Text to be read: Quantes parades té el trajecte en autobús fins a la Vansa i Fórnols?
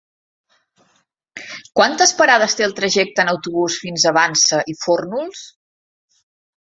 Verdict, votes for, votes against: rejected, 1, 3